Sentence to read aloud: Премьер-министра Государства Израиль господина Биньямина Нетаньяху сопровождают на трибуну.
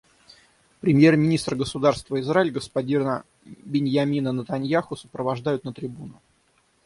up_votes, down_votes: 6, 3